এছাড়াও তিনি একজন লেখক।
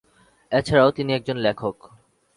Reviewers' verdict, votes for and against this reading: accepted, 2, 0